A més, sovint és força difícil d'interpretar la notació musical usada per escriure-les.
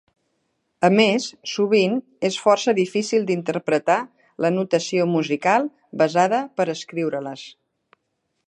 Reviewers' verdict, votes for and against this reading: rejected, 1, 2